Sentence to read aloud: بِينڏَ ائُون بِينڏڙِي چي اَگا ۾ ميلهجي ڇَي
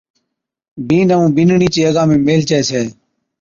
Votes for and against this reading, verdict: 2, 0, accepted